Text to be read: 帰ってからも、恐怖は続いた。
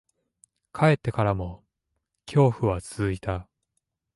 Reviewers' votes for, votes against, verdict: 2, 0, accepted